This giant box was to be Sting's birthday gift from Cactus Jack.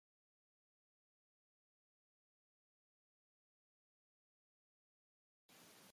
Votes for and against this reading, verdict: 0, 2, rejected